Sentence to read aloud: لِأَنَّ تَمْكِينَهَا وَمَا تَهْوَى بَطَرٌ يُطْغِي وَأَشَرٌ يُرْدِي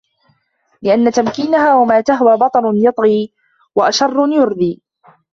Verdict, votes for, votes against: accepted, 2, 1